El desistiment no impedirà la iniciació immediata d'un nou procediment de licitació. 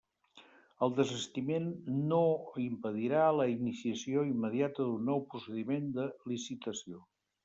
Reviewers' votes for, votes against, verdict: 0, 2, rejected